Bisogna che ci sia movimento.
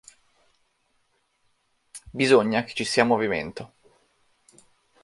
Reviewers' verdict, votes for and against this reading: accepted, 3, 0